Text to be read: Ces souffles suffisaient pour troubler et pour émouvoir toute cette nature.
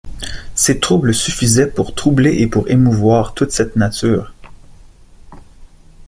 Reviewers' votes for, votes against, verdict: 0, 2, rejected